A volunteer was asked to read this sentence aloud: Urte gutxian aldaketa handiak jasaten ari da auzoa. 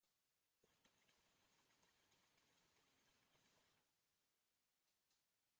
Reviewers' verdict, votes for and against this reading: rejected, 1, 2